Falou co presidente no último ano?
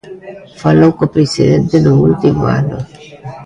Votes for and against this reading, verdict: 0, 2, rejected